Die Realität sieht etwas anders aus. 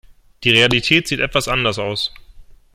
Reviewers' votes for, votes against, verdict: 2, 0, accepted